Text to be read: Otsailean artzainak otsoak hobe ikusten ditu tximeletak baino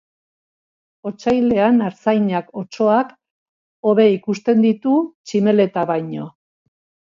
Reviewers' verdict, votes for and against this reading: rejected, 1, 2